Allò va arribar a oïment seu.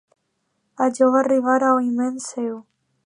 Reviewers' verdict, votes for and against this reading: accepted, 2, 0